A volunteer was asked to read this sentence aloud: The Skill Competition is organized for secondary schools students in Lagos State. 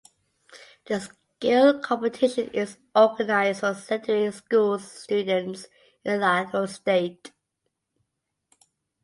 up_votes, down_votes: 0, 2